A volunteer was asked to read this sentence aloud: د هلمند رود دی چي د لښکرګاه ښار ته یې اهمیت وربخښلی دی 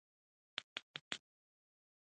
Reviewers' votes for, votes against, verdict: 0, 2, rejected